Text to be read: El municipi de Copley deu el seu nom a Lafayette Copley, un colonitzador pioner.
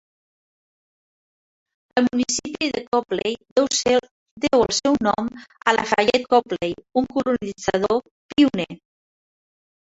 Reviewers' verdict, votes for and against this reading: rejected, 1, 2